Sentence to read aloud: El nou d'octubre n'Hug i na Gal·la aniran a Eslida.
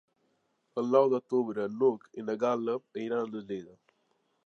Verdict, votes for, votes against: rejected, 1, 2